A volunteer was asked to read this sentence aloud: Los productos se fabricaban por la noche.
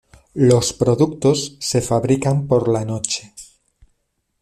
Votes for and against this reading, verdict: 1, 2, rejected